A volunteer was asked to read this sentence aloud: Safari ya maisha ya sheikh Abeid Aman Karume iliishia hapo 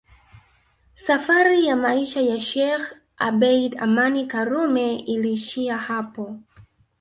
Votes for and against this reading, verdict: 0, 2, rejected